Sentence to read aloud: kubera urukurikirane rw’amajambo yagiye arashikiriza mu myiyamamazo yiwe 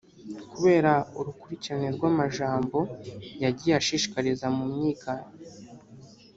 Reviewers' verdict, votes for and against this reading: rejected, 0, 2